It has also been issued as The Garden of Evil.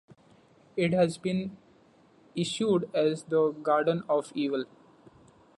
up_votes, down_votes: 2, 1